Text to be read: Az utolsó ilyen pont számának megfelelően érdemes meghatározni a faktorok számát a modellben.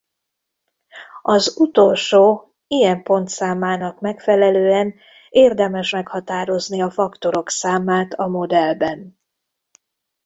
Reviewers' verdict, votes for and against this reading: rejected, 1, 2